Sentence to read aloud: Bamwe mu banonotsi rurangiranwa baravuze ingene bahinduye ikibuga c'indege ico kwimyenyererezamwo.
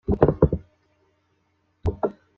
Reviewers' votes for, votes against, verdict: 0, 2, rejected